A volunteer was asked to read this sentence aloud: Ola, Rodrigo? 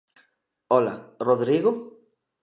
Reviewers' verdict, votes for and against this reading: accepted, 2, 0